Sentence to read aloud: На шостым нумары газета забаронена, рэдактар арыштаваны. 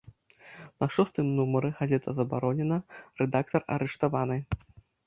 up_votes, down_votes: 2, 0